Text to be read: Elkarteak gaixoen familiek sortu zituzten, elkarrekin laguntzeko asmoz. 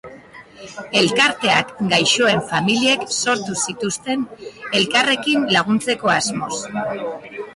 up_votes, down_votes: 2, 0